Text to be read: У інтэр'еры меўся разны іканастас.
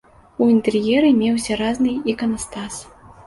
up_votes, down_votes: 1, 2